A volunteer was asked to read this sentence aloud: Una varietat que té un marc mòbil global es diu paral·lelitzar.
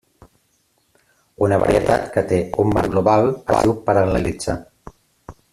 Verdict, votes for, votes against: rejected, 0, 3